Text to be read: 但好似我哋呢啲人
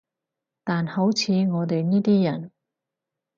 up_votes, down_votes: 4, 0